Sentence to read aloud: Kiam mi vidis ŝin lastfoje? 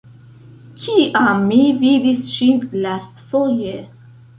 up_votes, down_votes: 3, 0